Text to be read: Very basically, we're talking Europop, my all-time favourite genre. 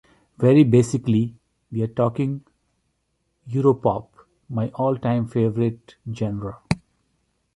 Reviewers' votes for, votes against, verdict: 2, 1, accepted